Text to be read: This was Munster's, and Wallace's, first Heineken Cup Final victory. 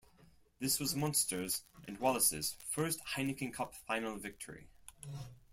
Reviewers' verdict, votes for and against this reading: accepted, 4, 0